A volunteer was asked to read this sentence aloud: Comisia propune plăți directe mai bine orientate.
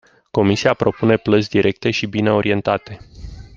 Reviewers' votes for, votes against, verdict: 1, 2, rejected